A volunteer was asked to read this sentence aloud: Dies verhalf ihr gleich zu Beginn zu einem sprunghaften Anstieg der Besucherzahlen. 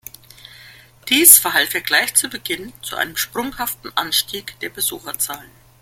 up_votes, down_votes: 2, 0